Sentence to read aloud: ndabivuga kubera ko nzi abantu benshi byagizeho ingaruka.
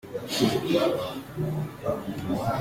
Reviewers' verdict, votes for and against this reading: rejected, 0, 2